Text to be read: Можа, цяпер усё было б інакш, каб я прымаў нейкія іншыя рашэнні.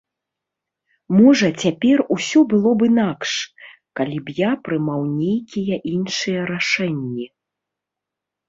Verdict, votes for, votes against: rejected, 0, 2